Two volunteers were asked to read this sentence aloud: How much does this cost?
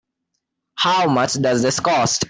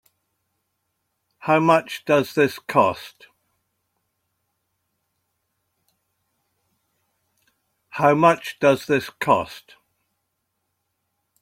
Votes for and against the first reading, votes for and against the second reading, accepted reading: 2, 0, 1, 2, first